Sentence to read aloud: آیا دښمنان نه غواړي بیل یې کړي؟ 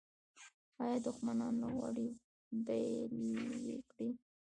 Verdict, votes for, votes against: rejected, 0, 2